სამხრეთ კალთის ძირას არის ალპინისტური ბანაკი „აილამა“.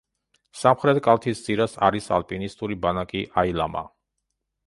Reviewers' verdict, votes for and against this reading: accepted, 2, 0